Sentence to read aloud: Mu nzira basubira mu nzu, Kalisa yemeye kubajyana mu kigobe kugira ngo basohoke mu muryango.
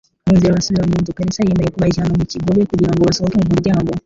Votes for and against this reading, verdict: 2, 3, rejected